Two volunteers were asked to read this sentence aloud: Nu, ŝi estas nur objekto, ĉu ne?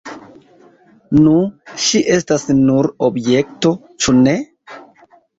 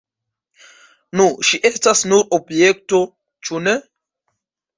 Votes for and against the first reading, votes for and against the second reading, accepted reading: 2, 0, 0, 2, first